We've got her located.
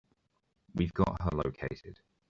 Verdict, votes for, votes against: accepted, 3, 0